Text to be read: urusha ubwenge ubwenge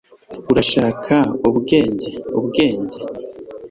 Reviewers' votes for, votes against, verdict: 1, 2, rejected